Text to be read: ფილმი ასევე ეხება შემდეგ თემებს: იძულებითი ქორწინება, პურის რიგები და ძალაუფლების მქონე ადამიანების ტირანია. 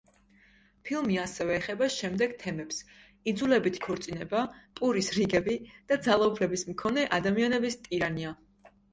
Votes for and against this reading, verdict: 2, 0, accepted